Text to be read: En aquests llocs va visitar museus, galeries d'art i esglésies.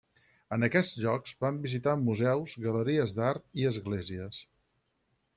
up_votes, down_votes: 2, 4